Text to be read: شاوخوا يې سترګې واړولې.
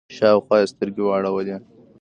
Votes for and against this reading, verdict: 2, 1, accepted